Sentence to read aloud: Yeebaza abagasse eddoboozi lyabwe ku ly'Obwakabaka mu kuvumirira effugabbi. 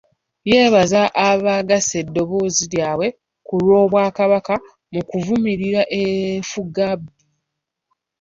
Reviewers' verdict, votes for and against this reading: rejected, 0, 2